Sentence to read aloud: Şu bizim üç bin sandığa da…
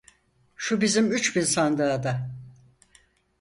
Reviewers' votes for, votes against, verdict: 4, 0, accepted